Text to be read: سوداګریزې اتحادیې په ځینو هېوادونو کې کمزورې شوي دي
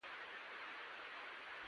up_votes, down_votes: 0, 2